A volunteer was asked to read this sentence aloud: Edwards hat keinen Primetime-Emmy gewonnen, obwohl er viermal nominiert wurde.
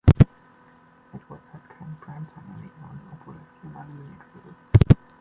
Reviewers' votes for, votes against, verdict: 1, 2, rejected